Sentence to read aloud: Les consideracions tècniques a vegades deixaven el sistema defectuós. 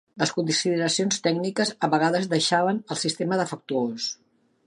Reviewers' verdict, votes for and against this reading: rejected, 1, 2